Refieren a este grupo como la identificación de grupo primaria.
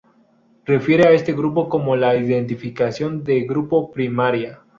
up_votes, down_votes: 2, 0